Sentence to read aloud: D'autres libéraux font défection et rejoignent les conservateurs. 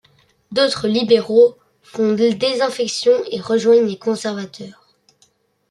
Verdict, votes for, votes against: rejected, 0, 2